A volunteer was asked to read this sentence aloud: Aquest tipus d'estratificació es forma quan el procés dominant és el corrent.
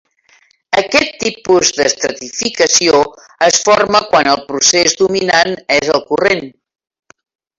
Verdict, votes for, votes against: rejected, 1, 2